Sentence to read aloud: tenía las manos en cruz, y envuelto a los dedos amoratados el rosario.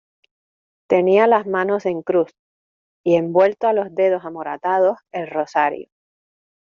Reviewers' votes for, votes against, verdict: 2, 0, accepted